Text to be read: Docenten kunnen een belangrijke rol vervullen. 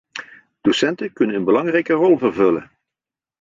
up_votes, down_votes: 2, 0